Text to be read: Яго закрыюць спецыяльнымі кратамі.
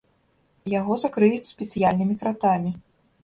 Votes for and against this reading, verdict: 0, 2, rejected